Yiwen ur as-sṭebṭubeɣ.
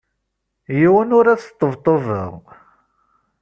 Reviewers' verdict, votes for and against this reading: accepted, 2, 0